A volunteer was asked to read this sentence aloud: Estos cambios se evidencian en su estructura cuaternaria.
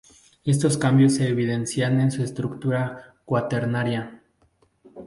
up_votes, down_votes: 2, 0